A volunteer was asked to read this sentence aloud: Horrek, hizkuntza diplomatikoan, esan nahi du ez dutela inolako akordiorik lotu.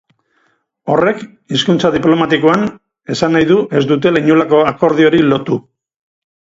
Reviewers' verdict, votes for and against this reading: rejected, 2, 2